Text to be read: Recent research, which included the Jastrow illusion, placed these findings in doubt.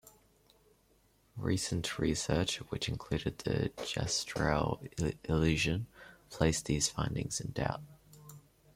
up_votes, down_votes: 1, 2